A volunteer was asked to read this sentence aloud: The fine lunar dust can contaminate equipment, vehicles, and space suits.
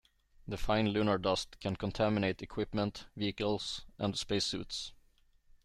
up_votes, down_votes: 2, 0